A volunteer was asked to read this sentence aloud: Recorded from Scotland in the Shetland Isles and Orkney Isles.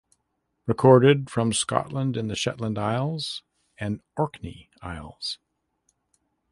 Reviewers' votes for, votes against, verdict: 2, 0, accepted